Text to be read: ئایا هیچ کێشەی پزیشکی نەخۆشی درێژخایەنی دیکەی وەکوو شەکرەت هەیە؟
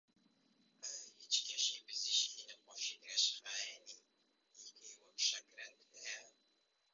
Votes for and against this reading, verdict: 0, 2, rejected